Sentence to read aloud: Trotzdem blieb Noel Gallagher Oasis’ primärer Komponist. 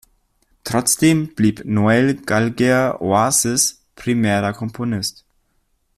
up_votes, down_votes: 0, 2